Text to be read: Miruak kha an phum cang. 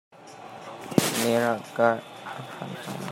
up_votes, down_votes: 1, 2